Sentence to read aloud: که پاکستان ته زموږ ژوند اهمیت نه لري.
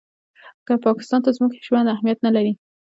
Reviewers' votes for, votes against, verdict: 2, 0, accepted